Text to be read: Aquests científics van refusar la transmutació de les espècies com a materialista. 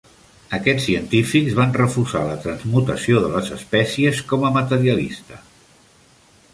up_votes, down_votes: 3, 1